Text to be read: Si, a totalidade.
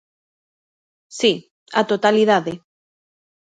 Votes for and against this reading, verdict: 2, 0, accepted